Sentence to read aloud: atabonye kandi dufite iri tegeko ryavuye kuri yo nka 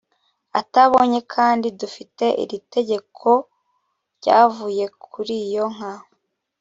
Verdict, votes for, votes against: accepted, 2, 0